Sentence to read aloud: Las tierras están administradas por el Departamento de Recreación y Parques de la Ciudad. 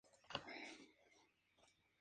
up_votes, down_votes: 2, 0